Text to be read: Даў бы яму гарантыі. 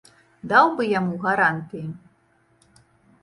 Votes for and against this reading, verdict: 2, 0, accepted